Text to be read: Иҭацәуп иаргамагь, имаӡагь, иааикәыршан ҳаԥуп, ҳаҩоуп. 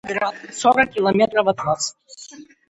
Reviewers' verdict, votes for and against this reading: rejected, 0, 2